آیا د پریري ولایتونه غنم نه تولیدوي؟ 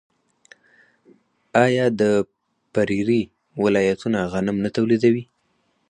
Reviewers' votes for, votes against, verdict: 4, 0, accepted